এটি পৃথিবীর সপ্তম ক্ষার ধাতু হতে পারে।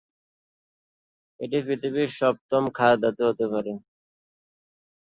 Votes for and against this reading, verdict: 1, 2, rejected